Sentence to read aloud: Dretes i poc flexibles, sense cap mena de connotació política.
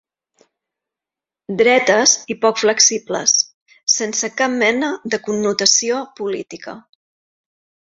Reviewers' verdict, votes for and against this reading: accepted, 4, 0